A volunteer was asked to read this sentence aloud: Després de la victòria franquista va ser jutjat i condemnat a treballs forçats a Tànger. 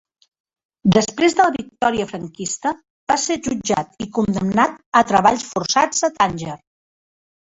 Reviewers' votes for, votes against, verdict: 3, 1, accepted